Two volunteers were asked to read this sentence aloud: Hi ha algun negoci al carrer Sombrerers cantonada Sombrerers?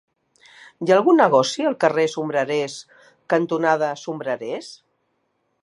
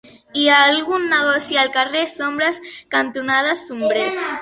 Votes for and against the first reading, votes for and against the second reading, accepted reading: 3, 0, 0, 2, first